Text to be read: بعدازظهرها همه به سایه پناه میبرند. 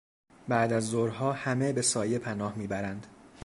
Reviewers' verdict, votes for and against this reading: accepted, 2, 0